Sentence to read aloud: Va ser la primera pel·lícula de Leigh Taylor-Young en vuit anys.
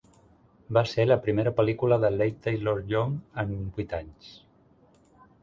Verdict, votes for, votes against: accepted, 2, 0